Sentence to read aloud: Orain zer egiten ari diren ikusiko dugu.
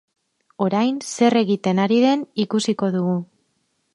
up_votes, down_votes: 2, 4